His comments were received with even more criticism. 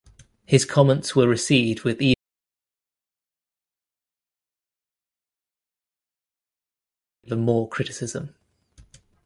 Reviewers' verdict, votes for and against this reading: rejected, 0, 2